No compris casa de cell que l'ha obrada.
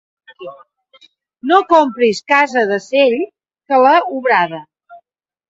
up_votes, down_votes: 2, 0